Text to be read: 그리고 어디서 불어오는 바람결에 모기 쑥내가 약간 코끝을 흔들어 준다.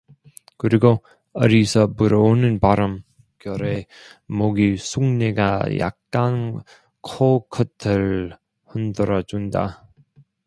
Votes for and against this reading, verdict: 0, 2, rejected